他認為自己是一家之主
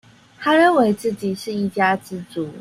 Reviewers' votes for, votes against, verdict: 2, 0, accepted